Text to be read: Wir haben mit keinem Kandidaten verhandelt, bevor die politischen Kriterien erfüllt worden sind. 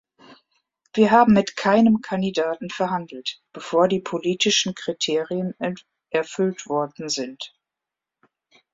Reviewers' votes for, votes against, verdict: 1, 3, rejected